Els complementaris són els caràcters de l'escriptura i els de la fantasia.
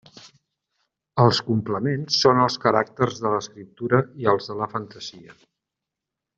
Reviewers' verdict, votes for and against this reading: rejected, 0, 2